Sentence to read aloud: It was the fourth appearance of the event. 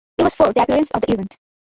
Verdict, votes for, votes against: rejected, 0, 2